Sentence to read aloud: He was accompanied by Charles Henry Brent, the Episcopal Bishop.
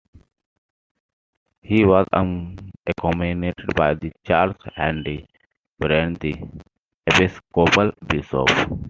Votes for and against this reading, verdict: 0, 2, rejected